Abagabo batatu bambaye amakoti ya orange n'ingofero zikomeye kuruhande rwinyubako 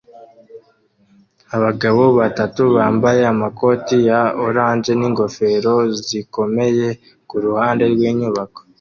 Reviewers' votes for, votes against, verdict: 2, 0, accepted